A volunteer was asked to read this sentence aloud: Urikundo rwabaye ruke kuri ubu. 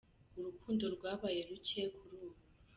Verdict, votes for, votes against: accepted, 2, 0